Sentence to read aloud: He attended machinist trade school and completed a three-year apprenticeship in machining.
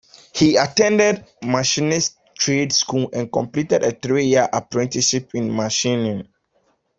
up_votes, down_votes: 2, 0